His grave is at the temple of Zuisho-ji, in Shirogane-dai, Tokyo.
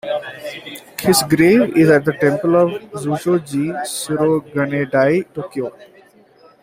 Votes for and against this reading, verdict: 2, 1, accepted